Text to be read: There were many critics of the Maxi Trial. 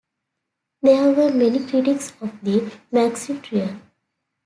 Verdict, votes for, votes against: accepted, 2, 1